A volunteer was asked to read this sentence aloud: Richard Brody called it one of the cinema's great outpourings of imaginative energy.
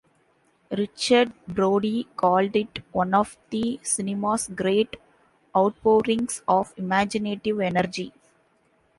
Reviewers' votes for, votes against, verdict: 2, 0, accepted